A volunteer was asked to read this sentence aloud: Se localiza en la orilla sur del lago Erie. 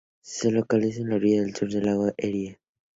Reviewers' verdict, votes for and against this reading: rejected, 0, 2